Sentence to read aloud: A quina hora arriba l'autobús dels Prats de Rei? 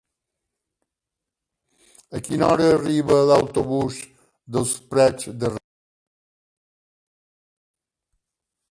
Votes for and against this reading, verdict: 0, 2, rejected